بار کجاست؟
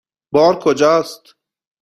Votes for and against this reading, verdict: 2, 0, accepted